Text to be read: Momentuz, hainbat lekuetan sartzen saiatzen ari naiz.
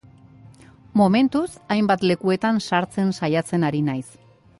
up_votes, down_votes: 2, 0